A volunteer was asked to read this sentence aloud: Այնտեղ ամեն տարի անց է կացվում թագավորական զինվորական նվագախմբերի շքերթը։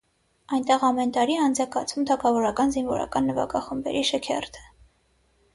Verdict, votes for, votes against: accepted, 6, 0